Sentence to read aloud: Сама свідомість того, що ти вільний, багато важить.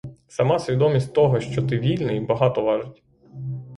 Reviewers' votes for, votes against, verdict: 6, 0, accepted